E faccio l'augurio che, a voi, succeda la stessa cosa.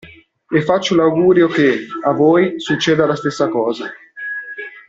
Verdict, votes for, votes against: accepted, 2, 1